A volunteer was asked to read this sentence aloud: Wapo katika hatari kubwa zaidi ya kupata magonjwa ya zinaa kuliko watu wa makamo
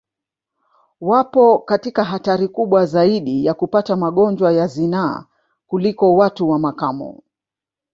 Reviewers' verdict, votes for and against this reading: accepted, 4, 2